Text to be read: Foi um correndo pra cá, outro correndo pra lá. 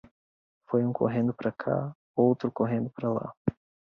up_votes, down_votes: 0, 2